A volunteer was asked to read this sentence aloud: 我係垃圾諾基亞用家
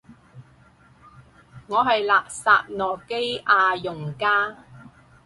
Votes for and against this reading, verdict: 4, 0, accepted